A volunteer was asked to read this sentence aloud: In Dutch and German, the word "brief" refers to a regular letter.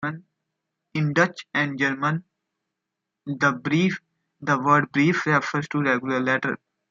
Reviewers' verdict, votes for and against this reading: rejected, 0, 2